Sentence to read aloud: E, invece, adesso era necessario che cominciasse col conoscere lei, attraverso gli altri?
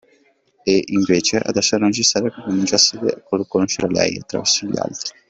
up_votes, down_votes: 1, 2